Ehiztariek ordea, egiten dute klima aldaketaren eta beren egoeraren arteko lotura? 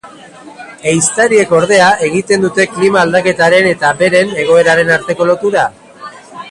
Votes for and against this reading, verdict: 2, 1, accepted